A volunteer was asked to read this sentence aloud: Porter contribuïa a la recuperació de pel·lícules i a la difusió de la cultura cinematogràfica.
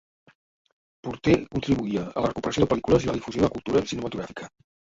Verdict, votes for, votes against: rejected, 1, 2